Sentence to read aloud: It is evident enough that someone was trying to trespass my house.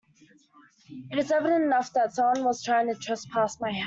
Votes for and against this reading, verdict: 0, 2, rejected